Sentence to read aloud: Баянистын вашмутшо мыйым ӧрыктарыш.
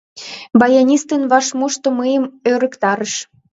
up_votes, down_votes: 1, 4